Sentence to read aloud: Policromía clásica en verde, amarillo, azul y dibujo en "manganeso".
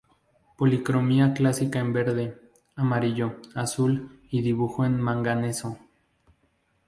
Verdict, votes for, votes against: accepted, 2, 0